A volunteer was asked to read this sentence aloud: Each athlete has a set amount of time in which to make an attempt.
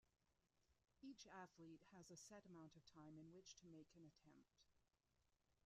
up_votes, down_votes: 0, 2